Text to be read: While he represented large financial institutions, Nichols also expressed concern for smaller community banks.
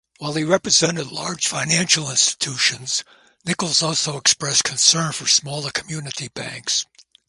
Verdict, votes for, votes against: rejected, 0, 2